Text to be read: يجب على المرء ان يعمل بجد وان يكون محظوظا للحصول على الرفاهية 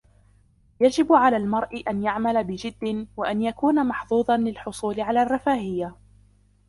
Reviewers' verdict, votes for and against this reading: rejected, 0, 2